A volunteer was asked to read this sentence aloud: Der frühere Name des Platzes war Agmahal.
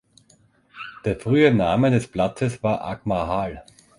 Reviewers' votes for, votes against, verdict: 1, 2, rejected